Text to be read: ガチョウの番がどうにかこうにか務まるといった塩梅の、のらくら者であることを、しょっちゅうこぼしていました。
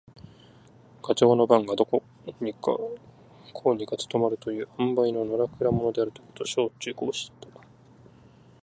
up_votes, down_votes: 1, 2